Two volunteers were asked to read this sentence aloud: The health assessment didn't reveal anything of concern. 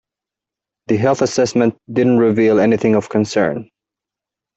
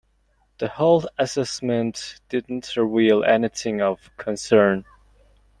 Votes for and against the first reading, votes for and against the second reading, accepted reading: 2, 0, 1, 2, first